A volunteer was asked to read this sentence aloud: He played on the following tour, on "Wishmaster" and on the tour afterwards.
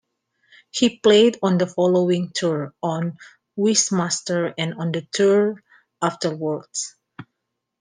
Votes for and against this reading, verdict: 2, 1, accepted